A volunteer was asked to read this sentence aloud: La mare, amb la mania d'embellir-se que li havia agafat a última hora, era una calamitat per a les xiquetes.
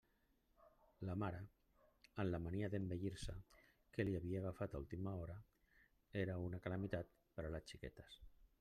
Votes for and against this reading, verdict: 1, 2, rejected